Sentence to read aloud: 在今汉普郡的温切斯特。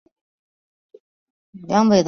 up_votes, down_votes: 0, 5